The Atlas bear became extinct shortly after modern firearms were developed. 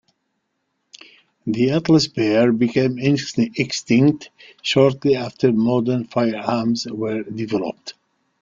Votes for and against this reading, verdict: 1, 2, rejected